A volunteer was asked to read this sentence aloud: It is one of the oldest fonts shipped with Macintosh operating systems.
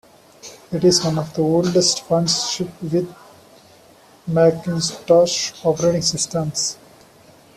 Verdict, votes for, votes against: rejected, 0, 2